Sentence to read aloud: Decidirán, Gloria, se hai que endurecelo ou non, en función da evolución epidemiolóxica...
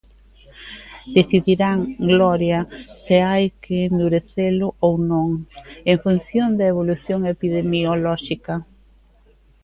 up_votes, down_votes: 1, 2